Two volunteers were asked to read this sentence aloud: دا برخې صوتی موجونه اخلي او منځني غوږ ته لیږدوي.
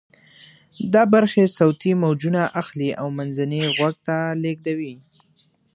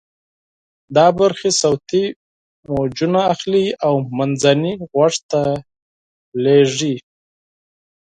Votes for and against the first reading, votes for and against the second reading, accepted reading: 2, 0, 0, 4, first